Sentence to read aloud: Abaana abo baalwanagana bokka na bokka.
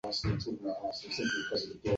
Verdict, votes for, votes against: rejected, 0, 2